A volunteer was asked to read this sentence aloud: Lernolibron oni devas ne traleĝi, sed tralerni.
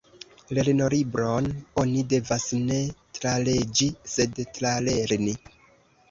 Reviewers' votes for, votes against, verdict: 1, 2, rejected